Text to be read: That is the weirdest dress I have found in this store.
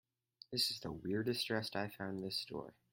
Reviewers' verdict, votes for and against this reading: rejected, 2, 2